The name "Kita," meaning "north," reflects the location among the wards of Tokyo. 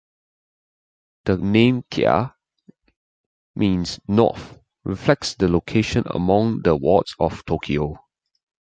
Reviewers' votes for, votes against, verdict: 0, 2, rejected